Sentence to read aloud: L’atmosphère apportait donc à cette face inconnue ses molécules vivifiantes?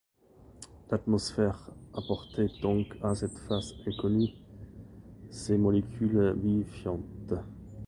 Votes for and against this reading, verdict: 2, 0, accepted